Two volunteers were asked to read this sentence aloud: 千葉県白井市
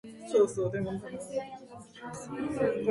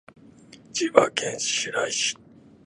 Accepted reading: second